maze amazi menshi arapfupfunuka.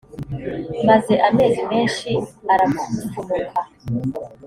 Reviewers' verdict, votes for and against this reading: rejected, 0, 2